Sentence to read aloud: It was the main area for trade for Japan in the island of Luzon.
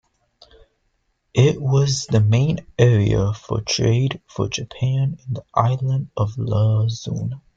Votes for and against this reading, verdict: 1, 2, rejected